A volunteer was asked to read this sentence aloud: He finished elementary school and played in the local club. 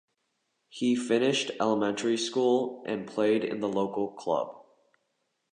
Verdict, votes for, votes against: accepted, 2, 0